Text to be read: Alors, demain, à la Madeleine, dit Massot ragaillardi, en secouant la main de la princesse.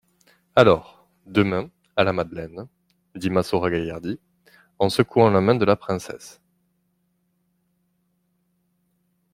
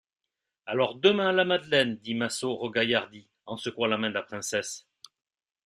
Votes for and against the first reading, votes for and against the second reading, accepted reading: 2, 0, 1, 3, first